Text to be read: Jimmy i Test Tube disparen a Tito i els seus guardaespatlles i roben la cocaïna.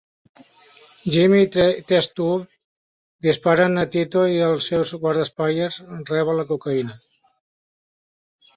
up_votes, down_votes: 0, 2